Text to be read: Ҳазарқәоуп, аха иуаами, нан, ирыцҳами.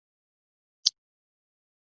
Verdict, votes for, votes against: accepted, 2, 0